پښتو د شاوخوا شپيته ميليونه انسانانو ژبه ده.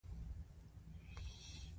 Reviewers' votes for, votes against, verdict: 2, 1, accepted